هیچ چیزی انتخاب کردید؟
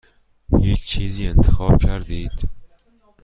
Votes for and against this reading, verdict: 2, 0, accepted